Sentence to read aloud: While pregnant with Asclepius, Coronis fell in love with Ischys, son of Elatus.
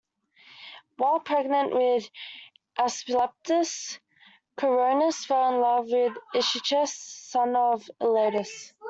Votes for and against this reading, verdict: 0, 2, rejected